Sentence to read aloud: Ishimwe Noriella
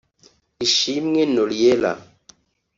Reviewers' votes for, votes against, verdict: 2, 0, accepted